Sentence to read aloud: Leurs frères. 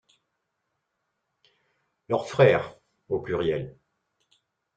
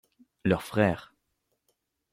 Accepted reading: second